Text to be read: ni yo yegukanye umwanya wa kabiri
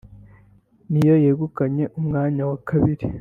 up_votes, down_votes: 2, 0